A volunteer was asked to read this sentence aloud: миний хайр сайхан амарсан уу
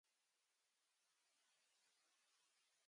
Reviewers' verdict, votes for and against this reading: rejected, 0, 2